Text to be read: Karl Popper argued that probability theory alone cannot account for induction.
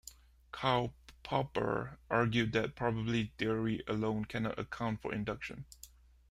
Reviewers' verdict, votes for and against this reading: rejected, 1, 2